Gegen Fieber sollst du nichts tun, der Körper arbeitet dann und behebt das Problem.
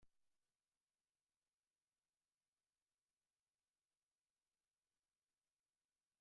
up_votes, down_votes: 0, 2